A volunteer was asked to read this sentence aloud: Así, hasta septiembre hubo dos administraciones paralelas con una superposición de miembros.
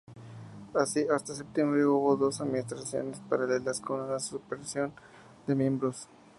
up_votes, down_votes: 2, 0